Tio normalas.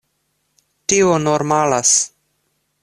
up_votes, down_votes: 2, 0